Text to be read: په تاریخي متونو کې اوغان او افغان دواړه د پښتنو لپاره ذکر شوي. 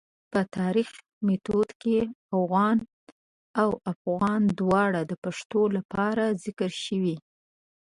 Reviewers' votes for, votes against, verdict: 0, 2, rejected